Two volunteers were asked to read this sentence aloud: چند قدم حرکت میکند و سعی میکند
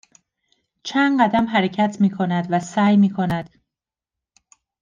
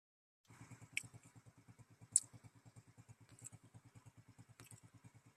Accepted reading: first